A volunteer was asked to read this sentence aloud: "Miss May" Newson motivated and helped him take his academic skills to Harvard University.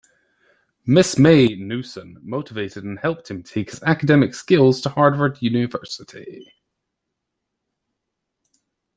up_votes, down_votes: 0, 2